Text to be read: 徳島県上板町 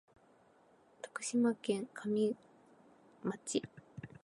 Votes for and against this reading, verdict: 0, 2, rejected